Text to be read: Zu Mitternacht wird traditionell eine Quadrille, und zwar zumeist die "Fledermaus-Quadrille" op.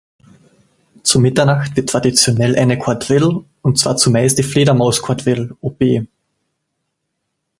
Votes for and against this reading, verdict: 1, 2, rejected